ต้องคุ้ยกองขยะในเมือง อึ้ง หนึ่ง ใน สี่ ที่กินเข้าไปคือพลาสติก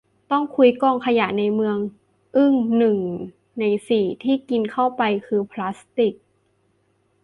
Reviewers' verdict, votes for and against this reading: accepted, 2, 0